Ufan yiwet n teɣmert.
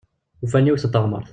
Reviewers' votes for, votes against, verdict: 2, 1, accepted